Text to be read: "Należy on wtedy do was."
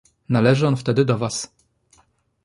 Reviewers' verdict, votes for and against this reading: accepted, 2, 0